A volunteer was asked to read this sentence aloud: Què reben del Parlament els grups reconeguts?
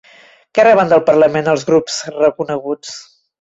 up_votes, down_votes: 3, 0